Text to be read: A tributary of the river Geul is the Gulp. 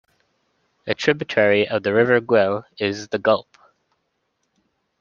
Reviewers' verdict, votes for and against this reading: rejected, 0, 2